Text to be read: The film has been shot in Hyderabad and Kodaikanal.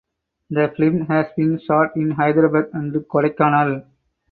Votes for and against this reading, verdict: 4, 0, accepted